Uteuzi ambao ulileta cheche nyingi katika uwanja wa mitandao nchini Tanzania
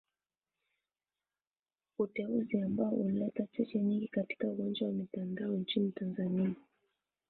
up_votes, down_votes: 0, 2